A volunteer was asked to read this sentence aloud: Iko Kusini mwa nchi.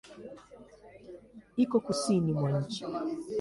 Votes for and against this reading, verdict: 2, 1, accepted